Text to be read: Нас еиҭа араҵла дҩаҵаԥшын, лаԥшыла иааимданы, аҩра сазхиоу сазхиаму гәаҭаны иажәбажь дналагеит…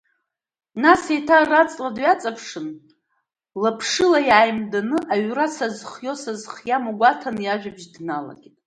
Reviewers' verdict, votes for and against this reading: accepted, 2, 0